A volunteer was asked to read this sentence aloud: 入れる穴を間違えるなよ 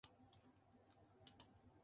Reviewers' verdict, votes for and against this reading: rejected, 0, 2